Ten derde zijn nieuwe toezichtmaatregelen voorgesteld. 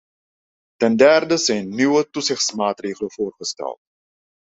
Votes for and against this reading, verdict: 2, 0, accepted